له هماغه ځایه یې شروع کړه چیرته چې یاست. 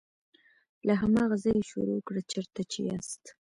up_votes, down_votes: 2, 0